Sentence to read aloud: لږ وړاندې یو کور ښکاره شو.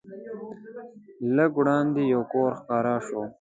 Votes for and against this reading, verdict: 0, 2, rejected